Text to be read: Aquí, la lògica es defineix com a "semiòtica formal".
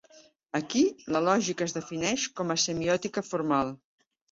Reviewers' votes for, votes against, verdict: 2, 0, accepted